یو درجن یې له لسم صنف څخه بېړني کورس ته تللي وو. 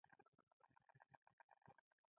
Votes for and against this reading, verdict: 0, 2, rejected